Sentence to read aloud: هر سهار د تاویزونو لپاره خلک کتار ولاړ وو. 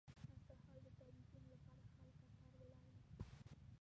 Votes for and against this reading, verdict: 1, 2, rejected